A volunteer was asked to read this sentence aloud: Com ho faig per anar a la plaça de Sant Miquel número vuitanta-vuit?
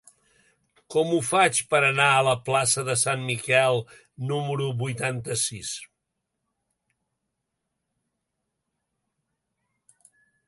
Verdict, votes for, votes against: rejected, 0, 2